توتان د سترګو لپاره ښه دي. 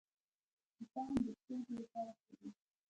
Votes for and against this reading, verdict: 1, 2, rejected